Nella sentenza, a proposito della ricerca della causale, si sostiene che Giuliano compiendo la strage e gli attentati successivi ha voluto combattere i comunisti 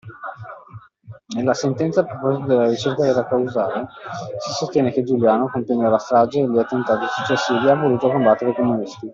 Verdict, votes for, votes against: rejected, 0, 2